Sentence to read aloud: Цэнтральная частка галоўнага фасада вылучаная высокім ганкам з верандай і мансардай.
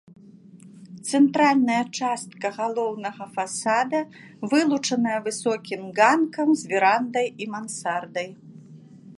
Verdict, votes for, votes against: rejected, 1, 2